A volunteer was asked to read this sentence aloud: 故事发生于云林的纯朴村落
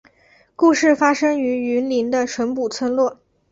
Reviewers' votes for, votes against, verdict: 2, 0, accepted